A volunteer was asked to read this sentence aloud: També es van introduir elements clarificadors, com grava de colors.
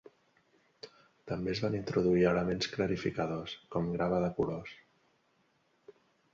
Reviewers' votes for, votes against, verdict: 2, 0, accepted